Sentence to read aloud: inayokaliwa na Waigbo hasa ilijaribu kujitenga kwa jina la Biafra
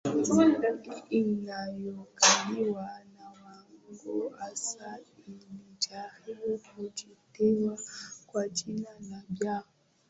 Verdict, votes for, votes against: rejected, 4, 5